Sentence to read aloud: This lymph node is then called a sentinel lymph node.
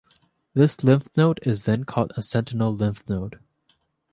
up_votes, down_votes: 2, 0